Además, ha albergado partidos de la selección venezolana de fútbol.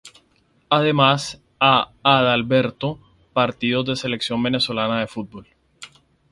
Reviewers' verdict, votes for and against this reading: rejected, 0, 2